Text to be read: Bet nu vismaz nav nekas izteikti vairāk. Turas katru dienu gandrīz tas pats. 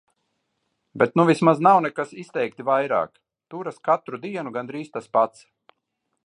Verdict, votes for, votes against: accepted, 2, 0